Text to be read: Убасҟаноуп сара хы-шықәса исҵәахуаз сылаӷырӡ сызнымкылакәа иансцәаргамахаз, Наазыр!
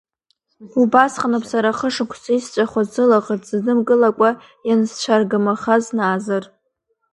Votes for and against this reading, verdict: 2, 0, accepted